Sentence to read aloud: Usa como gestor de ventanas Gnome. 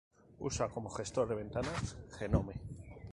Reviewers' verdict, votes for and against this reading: rejected, 2, 2